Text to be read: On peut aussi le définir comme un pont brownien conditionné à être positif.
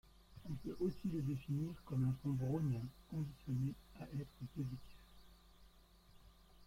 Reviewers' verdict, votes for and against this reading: rejected, 1, 2